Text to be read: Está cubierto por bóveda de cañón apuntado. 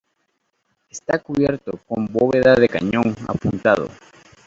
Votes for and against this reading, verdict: 0, 2, rejected